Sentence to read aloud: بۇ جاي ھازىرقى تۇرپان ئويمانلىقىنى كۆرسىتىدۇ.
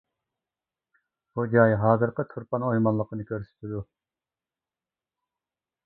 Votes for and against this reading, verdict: 2, 1, accepted